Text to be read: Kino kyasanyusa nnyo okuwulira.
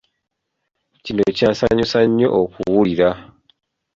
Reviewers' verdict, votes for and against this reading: rejected, 1, 2